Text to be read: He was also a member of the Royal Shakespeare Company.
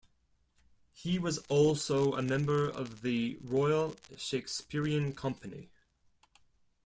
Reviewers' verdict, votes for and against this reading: rejected, 0, 2